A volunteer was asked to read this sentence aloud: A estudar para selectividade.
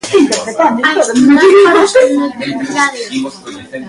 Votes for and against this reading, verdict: 0, 2, rejected